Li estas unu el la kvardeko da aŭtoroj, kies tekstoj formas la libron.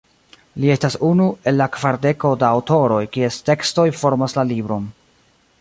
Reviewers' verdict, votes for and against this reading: accepted, 2, 0